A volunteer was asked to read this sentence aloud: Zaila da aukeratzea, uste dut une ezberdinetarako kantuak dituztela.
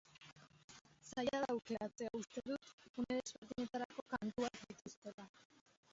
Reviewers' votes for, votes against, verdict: 0, 4, rejected